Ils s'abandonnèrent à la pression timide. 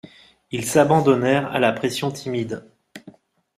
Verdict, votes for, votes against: accepted, 2, 0